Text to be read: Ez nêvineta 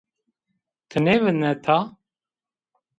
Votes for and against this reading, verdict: 1, 2, rejected